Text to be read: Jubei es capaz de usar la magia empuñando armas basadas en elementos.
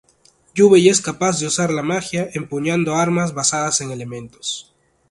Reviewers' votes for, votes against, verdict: 4, 0, accepted